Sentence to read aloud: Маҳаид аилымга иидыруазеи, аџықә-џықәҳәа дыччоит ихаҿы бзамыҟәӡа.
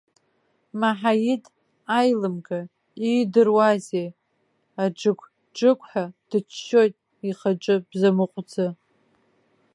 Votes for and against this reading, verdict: 2, 1, accepted